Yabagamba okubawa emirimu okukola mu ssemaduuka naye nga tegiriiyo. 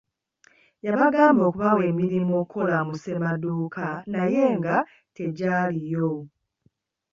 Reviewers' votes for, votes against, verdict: 0, 2, rejected